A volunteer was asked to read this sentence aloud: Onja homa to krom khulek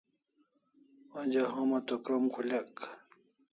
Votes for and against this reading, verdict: 2, 0, accepted